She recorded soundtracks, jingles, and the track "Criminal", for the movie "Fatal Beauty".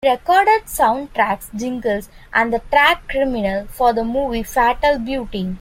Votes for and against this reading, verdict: 2, 1, accepted